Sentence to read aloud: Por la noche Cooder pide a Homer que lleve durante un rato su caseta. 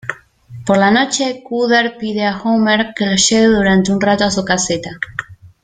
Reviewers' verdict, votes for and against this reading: rejected, 1, 2